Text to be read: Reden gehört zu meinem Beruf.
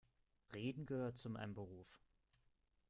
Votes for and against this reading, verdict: 1, 2, rejected